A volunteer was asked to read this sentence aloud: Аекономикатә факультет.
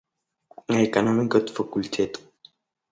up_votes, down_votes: 3, 0